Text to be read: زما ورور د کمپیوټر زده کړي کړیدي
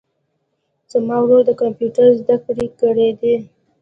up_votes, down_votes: 3, 0